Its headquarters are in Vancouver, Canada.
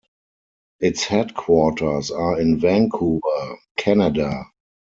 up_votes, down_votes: 4, 0